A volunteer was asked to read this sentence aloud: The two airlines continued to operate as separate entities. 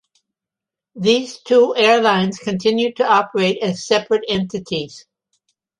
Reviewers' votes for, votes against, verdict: 1, 2, rejected